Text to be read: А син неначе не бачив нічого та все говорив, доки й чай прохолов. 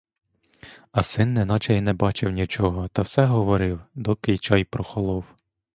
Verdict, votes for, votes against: rejected, 1, 2